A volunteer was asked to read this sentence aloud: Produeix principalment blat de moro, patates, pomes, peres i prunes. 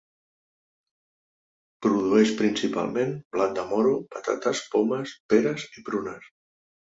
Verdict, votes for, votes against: accepted, 3, 0